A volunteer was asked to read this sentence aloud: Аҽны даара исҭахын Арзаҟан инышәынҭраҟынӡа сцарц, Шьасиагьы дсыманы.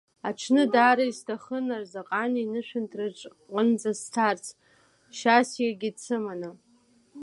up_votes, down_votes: 1, 2